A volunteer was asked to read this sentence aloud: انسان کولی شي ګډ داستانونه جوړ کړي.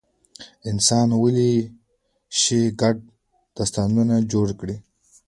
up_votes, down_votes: 1, 2